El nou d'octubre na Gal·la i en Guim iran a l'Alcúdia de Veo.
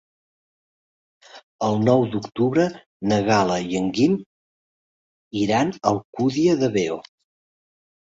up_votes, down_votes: 1, 2